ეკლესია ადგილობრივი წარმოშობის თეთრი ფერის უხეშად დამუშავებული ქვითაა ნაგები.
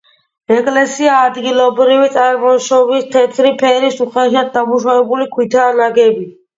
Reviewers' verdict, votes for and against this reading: accepted, 2, 1